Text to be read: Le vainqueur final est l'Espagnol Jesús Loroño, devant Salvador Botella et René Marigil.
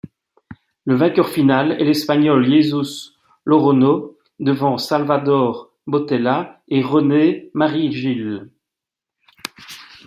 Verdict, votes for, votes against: accepted, 2, 0